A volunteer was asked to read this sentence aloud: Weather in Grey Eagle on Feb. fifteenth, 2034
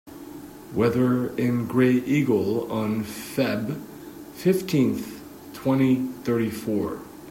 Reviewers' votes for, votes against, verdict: 0, 2, rejected